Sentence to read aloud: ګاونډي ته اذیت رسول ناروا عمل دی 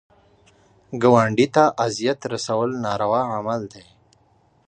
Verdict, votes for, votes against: accepted, 2, 1